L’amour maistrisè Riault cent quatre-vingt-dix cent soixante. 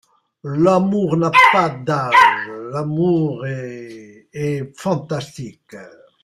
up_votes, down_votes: 0, 3